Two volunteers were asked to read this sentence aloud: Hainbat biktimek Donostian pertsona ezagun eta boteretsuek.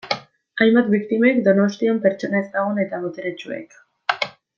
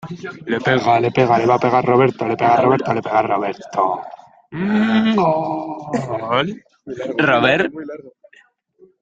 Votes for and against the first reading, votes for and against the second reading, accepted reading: 2, 0, 0, 2, first